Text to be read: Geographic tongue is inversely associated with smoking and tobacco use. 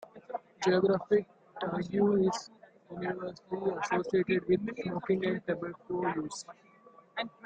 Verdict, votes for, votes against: rejected, 0, 2